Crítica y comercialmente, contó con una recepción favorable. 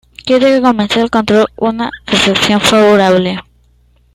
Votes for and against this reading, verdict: 0, 2, rejected